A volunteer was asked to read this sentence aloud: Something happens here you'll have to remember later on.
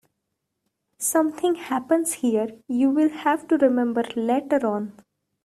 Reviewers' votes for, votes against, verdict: 1, 2, rejected